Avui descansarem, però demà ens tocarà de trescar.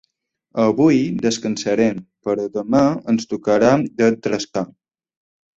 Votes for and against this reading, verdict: 0, 2, rejected